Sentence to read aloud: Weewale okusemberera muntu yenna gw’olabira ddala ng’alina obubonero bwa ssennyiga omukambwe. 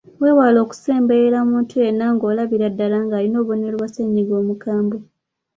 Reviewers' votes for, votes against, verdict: 2, 0, accepted